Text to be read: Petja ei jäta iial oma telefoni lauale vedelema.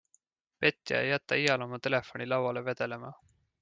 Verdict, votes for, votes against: accepted, 2, 0